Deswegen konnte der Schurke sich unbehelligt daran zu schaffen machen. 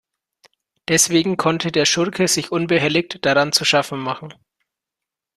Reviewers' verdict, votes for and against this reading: accepted, 2, 0